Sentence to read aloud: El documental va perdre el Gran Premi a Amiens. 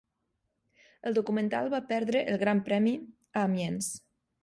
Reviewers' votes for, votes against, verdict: 0, 2, rejected